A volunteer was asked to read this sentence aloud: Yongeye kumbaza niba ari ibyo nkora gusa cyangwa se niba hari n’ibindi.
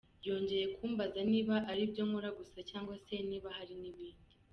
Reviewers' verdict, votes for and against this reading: accepted, 2, 0